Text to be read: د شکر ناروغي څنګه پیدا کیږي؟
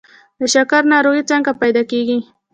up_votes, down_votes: 1, 2